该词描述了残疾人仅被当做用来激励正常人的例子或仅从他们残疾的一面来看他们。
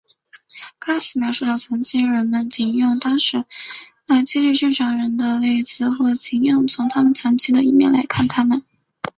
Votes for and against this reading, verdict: 0, 2, rejected